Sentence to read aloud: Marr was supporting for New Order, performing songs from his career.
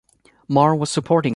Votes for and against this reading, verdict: 0, 2, rejected